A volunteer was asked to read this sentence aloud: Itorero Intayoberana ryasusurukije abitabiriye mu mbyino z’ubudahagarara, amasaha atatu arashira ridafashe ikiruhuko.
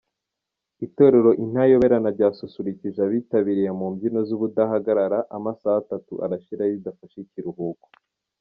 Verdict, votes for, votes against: accepted, 2, 0